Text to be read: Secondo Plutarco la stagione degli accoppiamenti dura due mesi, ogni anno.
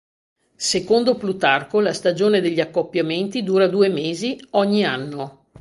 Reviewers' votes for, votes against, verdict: 2, 0, accepted